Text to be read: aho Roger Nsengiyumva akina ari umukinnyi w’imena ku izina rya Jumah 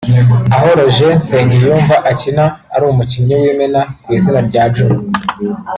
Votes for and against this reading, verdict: 4, 0, accepted